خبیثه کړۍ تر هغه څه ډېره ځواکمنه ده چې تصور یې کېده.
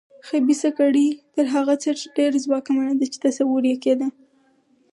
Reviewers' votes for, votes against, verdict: 2, 4, rejected